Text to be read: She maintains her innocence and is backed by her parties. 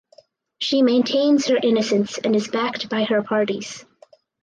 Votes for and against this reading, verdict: 4, 0, accepted